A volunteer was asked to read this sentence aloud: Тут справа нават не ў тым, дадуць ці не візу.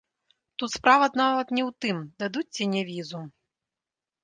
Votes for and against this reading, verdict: 0, 2, rejected